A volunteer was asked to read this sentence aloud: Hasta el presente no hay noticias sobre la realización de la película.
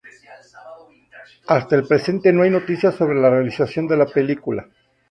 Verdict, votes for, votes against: rejected, 2, 2